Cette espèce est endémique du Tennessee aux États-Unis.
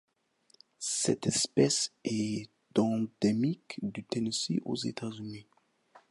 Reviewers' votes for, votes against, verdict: 2, 0, accepted